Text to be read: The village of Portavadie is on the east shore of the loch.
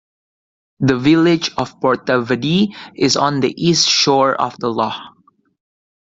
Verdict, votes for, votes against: accepted, 2, 0